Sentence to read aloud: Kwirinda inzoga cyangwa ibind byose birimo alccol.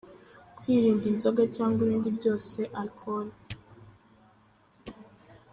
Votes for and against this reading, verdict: 0, 3, rejected